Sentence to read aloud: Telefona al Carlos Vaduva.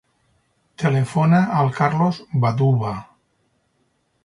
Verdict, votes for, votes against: rejected, 2, 2